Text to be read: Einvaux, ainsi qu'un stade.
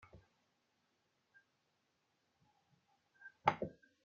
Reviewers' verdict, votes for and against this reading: rejected, 0, 2